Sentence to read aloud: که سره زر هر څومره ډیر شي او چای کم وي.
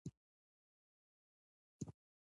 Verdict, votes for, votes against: rejected, 1, 2